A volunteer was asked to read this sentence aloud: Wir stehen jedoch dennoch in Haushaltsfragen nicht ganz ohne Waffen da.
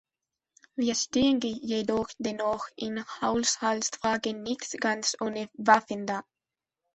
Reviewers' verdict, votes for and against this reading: rejected, 1, 2